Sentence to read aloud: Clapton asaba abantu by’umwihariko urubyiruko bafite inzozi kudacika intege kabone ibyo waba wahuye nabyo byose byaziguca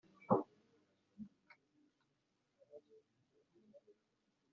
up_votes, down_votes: 0, 2